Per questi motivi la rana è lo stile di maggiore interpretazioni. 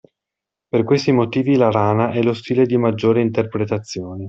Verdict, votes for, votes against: accepted, 2, 1